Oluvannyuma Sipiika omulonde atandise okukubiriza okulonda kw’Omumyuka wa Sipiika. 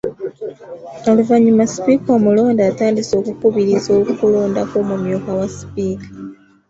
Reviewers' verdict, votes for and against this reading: accepted, 2, 0